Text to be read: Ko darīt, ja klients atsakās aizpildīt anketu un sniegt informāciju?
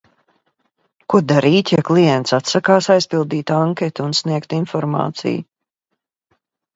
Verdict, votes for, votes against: accepted, 2, 0